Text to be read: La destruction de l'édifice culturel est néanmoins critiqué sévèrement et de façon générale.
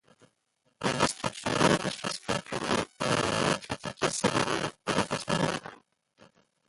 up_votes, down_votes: 1, 2